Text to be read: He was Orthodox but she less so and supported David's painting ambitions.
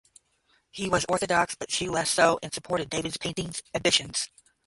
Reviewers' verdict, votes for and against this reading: rejected, 0, 10